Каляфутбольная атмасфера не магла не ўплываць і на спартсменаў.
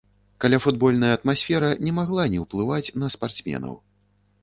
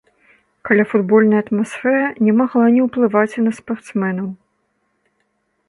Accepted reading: second